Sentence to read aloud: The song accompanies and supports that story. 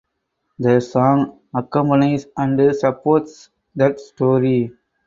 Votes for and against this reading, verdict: 4, 2, accepted